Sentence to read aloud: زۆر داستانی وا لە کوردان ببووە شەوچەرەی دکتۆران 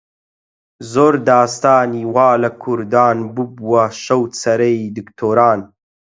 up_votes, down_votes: 8, 0